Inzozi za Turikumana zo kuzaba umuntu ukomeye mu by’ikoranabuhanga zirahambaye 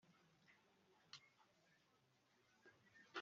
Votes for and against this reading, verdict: 0, 2, rejected